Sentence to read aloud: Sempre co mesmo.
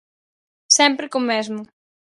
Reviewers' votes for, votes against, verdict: 4, 0, accepted